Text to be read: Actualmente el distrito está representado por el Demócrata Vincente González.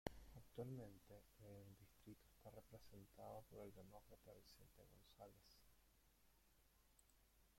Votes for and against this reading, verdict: 0, 2, rejected